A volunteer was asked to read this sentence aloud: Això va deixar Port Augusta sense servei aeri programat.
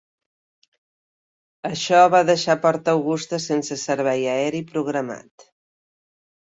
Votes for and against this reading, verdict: 3, 0, accepted